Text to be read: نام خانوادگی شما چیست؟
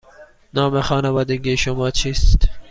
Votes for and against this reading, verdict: 2, 0, accepted